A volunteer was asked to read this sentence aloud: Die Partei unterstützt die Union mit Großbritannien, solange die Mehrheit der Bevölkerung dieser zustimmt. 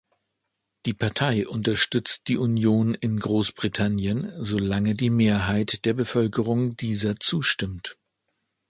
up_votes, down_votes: 0, 2